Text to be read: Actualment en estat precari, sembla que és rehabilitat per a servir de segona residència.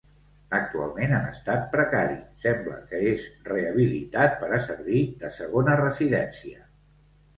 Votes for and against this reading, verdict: 2, 0, accepted